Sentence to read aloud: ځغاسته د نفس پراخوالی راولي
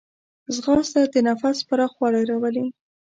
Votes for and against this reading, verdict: 2, 0, accepted